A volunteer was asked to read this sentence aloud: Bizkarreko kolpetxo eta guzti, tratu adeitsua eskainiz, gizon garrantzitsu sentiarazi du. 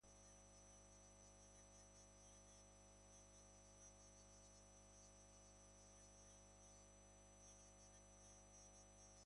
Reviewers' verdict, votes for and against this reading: rejected, 0, 3